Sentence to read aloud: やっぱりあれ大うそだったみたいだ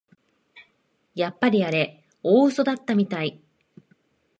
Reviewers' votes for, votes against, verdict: 0, 2, rejected